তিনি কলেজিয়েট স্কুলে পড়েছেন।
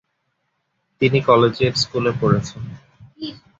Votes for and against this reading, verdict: 2, 4, rejected